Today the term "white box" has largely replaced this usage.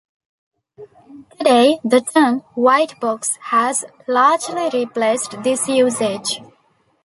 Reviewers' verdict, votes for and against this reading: accepted, 2, 0